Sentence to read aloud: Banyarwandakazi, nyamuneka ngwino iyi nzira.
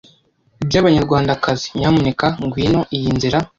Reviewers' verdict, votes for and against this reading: rejected, 1, 2